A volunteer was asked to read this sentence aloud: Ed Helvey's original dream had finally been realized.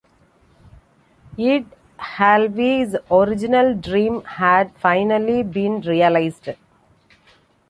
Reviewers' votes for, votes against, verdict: 0, 2, rejected